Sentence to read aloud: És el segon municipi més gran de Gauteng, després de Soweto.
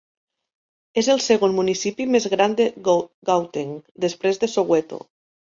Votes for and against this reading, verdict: 1, 2, rejected